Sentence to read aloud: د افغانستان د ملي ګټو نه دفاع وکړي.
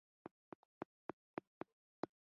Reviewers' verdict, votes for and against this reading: rejected, 0, 2